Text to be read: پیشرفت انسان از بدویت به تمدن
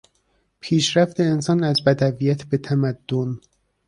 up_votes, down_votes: 2, 0